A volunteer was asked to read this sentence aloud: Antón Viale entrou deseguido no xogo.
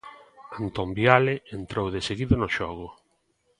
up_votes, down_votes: 1, 2